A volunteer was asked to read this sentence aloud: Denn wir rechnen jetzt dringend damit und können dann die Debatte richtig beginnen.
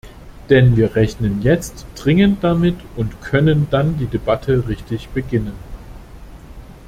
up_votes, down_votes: 2, 0